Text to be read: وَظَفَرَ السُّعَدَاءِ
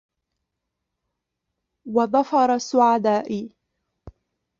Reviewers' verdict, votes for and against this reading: rejected, 1, 2